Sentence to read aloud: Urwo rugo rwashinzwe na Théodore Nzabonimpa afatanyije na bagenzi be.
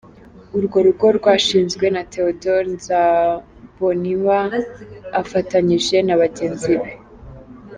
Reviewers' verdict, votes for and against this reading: accepted, 2, 0